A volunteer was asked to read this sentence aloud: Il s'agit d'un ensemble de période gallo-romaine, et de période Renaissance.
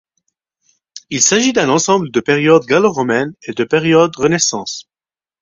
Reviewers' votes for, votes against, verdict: 4, 0, accepted